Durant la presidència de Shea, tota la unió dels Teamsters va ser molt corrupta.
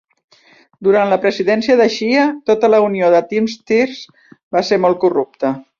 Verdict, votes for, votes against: rejected, 1, 2